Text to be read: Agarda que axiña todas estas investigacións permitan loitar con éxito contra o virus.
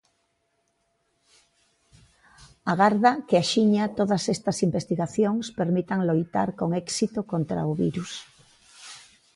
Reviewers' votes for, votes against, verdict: 2, 0, accepted